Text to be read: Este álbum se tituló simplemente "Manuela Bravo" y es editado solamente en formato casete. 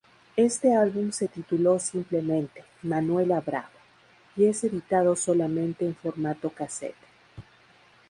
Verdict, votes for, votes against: accepted, 4, 0